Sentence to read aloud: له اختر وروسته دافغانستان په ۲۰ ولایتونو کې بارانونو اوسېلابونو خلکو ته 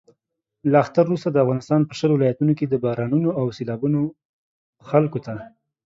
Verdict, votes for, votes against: rejected, 0, 2